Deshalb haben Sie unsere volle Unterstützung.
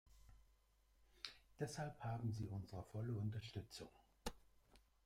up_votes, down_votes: 1, 2